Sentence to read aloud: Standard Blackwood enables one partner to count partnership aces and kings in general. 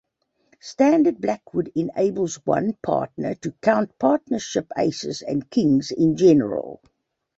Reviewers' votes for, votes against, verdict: 2, 0, accepted